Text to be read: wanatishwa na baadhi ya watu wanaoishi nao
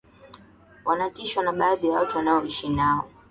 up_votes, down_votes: 2, 0